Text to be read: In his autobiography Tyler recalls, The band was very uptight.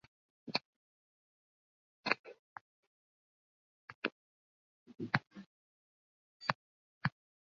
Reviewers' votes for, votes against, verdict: 0, 2, rejected